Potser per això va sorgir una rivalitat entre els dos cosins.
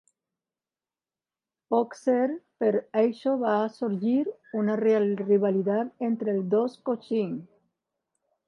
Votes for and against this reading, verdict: 0, 2, rejected